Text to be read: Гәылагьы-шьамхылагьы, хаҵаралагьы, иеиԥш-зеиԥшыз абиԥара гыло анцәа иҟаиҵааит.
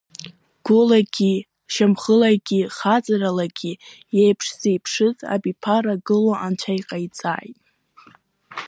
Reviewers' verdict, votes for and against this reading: accepted, 2, 0